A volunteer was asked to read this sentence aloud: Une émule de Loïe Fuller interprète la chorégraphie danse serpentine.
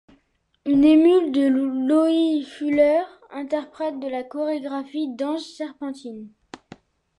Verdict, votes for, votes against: rejected, 1, 2